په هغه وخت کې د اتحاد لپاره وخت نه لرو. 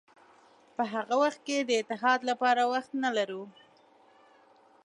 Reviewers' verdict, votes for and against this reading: accepted, 5, 1